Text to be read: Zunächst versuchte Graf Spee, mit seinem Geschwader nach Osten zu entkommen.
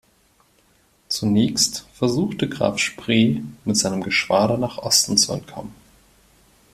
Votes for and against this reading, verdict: 0, 2, rejected